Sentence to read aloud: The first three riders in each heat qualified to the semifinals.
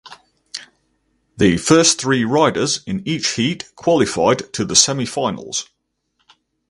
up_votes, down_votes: 4, 0